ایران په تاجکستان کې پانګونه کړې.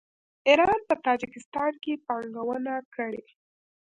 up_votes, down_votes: 1, 2